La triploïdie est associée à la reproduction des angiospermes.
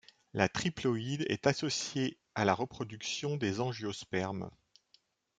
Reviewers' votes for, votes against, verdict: 3, 0, accepted